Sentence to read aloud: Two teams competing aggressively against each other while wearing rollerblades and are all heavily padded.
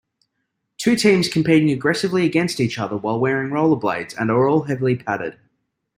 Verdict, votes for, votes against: accepted, 3, 0